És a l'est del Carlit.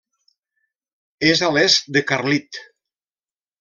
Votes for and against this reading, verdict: 1, 2, rejected